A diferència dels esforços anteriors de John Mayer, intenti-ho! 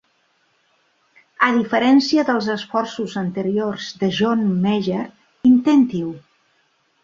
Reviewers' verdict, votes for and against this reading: accepted, 3, 1